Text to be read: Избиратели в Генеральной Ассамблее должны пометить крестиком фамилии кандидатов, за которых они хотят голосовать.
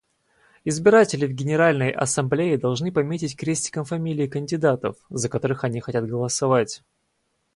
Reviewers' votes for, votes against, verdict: 4, 0, accepted